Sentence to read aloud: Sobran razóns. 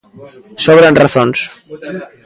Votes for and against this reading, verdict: 1, 2, rejected